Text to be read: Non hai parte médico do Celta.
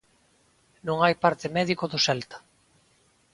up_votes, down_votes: 2, 0